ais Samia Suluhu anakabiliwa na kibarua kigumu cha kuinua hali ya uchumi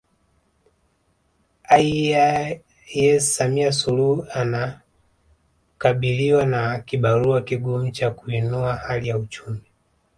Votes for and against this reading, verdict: 1, 4, rejected